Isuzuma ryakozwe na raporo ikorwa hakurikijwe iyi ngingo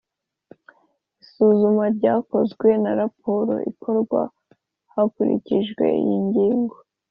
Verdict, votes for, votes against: accepted, 2, 0